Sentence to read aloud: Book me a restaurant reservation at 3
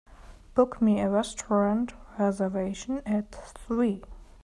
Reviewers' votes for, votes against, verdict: 0, 2, rejected